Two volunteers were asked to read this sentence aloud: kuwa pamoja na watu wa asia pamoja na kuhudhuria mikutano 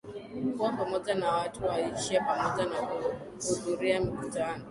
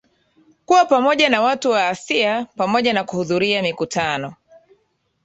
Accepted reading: second